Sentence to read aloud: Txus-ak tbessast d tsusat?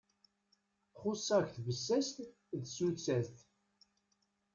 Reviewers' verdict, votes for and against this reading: rejected, 1, 2